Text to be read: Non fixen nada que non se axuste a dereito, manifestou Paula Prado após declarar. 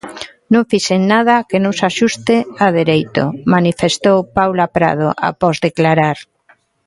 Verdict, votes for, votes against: accepted, 2, 1